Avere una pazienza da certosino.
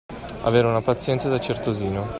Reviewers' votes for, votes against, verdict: 2, 0, accepted